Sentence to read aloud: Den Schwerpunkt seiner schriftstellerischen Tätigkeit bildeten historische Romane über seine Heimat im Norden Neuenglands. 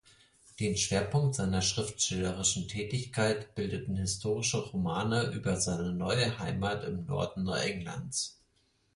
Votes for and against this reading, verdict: 0, 4, rejected